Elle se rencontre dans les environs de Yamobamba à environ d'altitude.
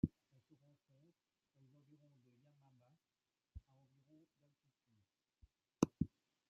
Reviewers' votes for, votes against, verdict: 0, 2, rejected